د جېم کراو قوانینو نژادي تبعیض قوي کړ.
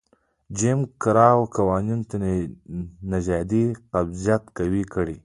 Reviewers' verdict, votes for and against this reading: rejected, 0, 2